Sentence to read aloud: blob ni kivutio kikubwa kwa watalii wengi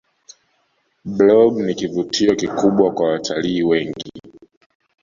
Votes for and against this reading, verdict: 1, 2, rejected